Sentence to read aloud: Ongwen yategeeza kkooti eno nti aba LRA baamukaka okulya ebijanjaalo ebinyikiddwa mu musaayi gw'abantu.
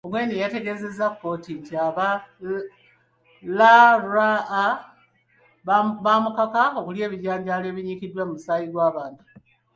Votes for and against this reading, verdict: 0, 2, rejected